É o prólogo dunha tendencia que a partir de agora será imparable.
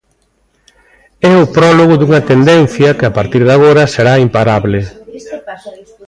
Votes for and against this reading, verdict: 2, 0, accepted